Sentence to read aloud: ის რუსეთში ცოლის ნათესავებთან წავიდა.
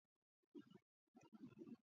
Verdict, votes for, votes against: rejected, 0, 2